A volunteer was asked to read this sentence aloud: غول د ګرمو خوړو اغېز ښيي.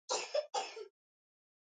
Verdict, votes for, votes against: rejected, 0, 2